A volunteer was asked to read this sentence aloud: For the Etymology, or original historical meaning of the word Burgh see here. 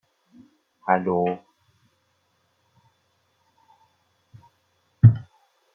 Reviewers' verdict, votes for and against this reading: rejected, 0, 2